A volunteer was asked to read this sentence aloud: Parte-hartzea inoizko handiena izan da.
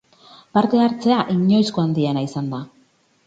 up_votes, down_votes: 4, 0